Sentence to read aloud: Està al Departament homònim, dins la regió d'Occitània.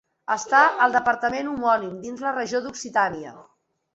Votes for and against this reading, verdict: 2, 0, accepted